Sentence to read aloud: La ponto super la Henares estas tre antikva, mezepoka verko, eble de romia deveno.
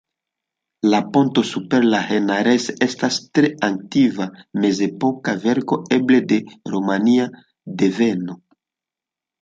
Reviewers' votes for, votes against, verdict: 0, 2, rejected